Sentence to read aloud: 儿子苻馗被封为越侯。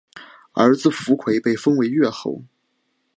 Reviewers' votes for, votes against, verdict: 2, 2, rejected